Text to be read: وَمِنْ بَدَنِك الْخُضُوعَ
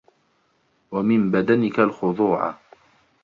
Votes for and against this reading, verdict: 2, 0, accepted